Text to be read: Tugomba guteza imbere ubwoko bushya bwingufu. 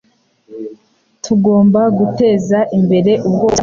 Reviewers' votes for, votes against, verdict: 2, 1, accepted